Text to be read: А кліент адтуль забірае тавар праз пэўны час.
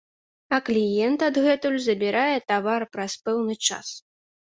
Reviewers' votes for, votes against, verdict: 1, 2, rejected